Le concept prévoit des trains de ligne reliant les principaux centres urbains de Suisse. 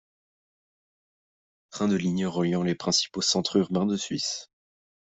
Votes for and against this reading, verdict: 0, 2, rejected